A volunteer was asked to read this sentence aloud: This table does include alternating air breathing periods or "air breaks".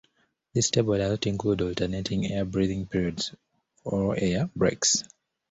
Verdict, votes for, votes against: rejected, 0, 2